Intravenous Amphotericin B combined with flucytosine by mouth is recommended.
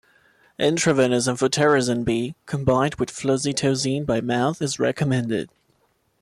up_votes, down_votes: 0, 2